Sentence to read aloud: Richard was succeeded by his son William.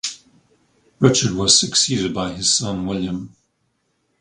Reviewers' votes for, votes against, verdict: 4, 0, accepted